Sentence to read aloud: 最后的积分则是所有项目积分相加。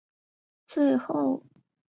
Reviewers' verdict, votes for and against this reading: rejected, 0, 3